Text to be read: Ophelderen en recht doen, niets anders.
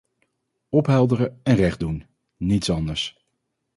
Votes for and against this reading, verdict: 4, 0, accepted